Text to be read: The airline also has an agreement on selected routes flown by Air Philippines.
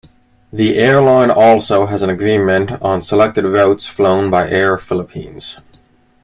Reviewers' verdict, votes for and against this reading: accepted, 2, 0